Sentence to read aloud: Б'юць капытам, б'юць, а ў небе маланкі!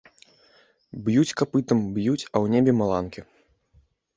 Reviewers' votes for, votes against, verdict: 2, 0, accepted